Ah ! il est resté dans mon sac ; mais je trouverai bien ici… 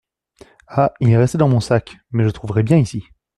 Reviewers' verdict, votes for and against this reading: accepted, 2, 0